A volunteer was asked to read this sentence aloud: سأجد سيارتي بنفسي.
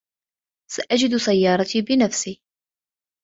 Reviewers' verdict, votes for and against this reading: accepted, 2, 0